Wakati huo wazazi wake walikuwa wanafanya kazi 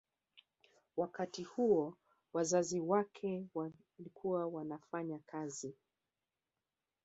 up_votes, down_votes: 1, 2